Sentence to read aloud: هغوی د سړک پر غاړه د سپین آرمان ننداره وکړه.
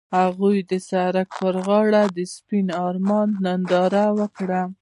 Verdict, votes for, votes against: accepted, 2, 0